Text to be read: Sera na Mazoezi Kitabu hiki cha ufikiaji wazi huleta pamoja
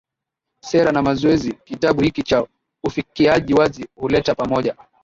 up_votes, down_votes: 0, 2